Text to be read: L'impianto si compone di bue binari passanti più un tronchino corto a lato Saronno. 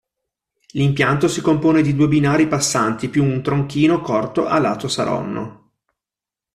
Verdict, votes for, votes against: accepted, 2, 0